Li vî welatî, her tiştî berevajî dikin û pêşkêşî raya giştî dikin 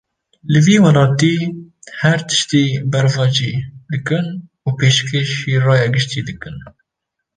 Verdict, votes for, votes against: rejected, 1, 2